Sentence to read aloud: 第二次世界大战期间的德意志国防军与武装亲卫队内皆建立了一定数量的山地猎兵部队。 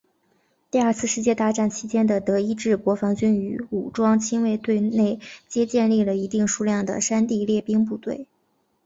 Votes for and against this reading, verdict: 2, 1, accepted